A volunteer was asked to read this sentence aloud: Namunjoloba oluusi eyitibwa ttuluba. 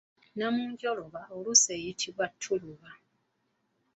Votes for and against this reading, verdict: 2, 0, accepted